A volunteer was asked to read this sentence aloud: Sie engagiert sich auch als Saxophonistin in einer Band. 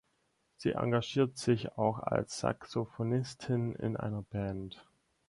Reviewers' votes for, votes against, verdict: 6, 0, accepted